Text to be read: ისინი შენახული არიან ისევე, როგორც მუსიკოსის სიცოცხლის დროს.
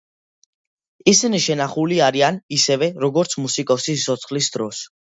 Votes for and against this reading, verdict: 2, 1, accepted